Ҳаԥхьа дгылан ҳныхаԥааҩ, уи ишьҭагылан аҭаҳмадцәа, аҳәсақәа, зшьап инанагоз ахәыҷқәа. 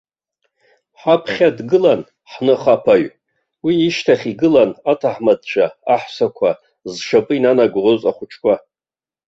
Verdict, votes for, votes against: rejected, 0, 2